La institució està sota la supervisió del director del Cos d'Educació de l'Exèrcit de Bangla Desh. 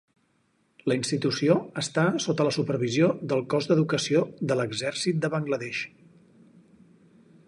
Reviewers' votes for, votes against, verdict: 2, 4, rejected